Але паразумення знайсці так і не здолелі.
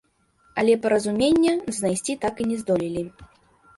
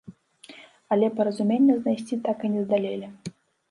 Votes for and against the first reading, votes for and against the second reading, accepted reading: 2, 0, 0, 2, first